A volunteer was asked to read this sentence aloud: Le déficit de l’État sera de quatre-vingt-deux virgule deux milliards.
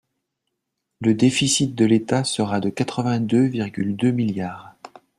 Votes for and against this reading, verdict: 2, 0, accepted